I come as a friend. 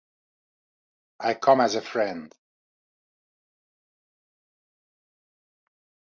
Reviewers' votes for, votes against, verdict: 2, 0, accepted